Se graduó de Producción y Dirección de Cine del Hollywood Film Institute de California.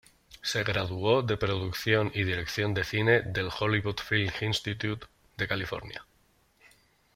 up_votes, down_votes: 2, 0